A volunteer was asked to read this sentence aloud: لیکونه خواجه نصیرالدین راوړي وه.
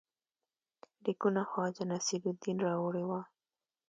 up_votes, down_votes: 2, 0